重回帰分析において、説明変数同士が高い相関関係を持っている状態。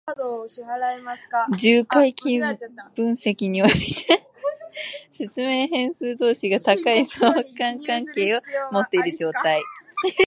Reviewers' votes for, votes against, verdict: 0, 2, rejected